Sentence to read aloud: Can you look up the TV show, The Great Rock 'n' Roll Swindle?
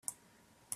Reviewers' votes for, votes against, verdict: 0, 3, rejected